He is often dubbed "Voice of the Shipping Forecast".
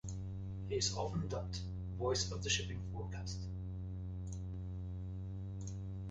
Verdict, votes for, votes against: accepted, 2, 0